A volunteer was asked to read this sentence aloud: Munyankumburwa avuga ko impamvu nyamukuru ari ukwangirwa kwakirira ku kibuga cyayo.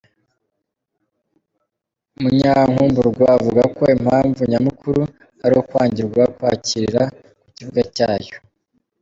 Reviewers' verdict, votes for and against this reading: rejected, 1, 3